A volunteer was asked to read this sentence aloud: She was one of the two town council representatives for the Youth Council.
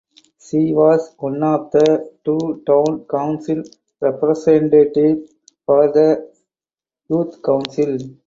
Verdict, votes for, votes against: accepted, 4, 2